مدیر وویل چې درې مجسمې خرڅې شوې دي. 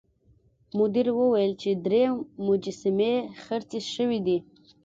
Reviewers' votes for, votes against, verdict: 2, 1, accepted